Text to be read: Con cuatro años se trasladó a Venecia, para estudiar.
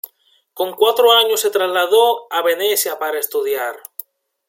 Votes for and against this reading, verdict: 2, 0, accepted